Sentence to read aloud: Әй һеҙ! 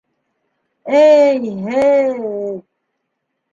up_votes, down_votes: 1, 2